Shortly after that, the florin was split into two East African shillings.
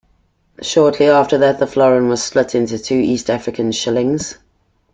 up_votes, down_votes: 2, 0